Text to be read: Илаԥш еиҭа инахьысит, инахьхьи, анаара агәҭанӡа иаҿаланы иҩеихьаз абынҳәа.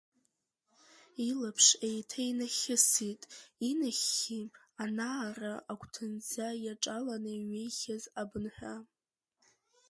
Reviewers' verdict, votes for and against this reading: accepted, 2, 0